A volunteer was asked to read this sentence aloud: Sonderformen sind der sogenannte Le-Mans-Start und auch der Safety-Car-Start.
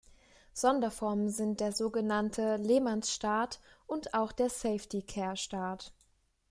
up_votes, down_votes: 0, 2